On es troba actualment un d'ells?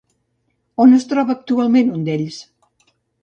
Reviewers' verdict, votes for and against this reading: accepted, 2, 0